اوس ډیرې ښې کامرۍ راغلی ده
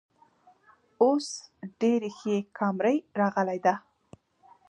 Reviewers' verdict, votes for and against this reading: rejected, 1, 2